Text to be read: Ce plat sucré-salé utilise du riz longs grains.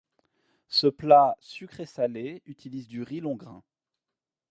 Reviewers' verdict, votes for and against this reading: rejected, 1, 2